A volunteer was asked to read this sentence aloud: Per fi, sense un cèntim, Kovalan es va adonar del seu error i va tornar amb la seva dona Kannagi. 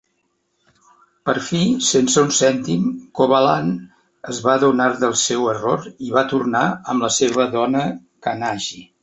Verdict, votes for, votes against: accepted, 2, 1